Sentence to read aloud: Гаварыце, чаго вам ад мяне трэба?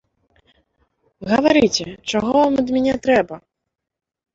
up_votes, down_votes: 2, 0